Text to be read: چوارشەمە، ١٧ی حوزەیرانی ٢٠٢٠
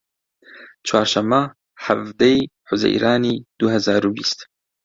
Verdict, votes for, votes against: rejected, 0, 2